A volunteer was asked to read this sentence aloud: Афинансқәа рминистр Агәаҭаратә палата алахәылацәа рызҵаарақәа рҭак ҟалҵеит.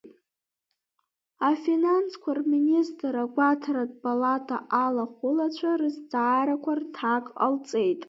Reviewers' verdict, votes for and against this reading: accepted, 2, 1